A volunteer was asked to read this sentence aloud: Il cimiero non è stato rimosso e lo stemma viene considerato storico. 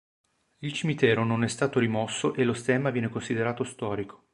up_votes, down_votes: 1, 4